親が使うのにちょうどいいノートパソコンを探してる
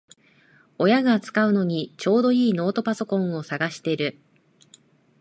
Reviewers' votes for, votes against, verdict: 2, 1, accepted